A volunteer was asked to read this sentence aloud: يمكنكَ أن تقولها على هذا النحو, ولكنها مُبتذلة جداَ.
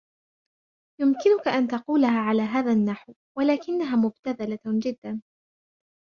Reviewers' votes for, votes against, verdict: 2, 0, accepted